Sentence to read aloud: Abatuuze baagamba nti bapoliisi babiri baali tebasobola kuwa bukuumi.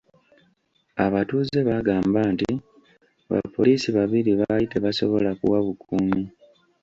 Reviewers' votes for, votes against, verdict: 1, 2, rejected